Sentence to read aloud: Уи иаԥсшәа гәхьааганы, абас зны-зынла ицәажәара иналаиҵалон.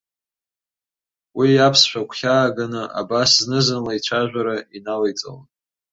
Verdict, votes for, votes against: rejected, 1, 2